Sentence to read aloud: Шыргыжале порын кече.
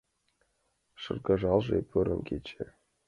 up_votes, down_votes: 3, 2